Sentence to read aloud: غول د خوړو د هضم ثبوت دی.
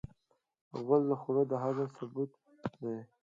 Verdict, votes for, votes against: accepted, 2, 0